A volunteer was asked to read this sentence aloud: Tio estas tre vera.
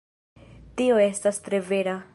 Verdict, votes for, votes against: accepted, 2, 1